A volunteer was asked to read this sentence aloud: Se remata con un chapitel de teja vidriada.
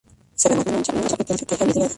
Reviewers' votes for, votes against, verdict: 0, 4, rejected